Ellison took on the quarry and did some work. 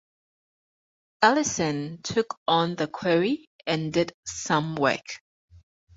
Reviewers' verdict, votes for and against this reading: accepted, 4, 0